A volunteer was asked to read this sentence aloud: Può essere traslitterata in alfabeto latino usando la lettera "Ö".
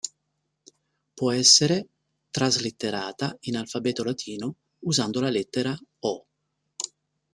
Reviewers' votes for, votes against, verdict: 2, 0, accepted